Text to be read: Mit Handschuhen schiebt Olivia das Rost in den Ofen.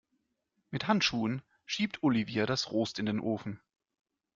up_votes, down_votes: 2, 1